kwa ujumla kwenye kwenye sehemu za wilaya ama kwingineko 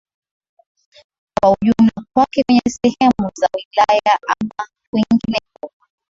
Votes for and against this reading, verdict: 3, 1, accepted